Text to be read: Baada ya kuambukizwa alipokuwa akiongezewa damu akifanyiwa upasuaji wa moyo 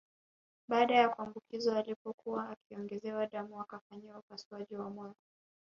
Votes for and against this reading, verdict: 1, 2, rejected